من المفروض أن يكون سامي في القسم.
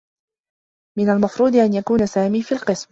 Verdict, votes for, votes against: accepted, 2, 0